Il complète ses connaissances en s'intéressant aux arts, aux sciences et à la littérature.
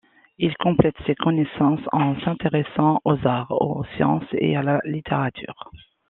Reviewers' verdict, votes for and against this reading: accepted, 2, 0